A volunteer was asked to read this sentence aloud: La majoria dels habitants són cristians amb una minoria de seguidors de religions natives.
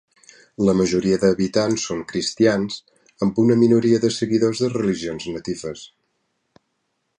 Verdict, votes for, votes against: rejected, 0, 2